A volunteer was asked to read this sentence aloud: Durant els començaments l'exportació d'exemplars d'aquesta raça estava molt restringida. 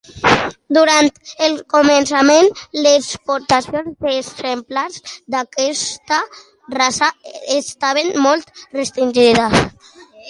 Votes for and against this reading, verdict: 0, 2, rejected